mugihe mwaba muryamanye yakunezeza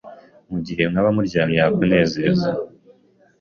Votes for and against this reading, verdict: 0, 2, rejected